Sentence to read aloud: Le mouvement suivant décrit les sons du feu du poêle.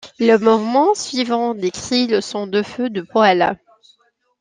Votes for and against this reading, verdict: 2, 1, accepted